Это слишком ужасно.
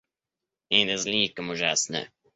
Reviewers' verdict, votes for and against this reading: rejected, 0, 2